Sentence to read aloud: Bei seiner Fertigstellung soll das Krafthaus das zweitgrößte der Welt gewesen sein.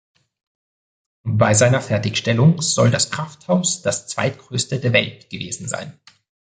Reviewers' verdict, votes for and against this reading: accepted, 2, 0